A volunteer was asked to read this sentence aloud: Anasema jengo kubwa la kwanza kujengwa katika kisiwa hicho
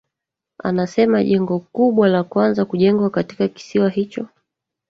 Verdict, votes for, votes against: rejected, 1, 2